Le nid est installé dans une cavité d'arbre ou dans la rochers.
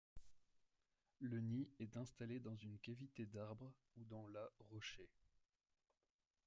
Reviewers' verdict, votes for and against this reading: accepted, 2, 0